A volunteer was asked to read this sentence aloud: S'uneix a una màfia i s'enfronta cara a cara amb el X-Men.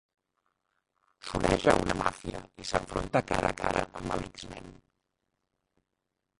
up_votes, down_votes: 0, 2